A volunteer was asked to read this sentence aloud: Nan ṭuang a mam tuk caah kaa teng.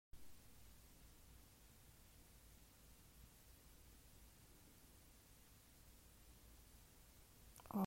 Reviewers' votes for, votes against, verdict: 0, 2, rejected